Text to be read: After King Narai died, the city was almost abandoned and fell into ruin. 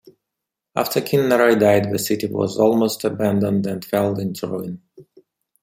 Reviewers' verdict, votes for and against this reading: accepted, 2, 0